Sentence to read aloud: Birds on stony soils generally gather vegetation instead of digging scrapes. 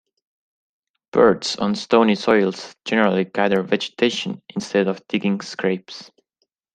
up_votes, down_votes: 2, 0